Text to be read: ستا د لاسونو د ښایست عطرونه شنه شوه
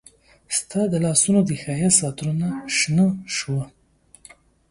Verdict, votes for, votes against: accepted, 2, 0